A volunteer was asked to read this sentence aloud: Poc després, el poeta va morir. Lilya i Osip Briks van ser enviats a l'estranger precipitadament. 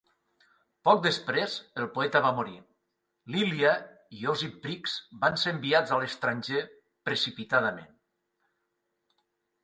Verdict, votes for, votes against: accepted, 2, 0